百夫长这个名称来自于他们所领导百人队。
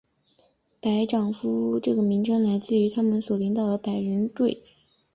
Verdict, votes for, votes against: rejected, 0, 3